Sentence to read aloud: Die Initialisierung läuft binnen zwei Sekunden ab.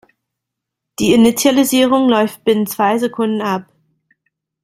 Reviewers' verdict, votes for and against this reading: accepted, 2, 0